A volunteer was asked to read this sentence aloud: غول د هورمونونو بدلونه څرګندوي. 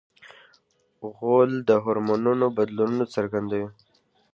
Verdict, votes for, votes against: accepted, 2, 0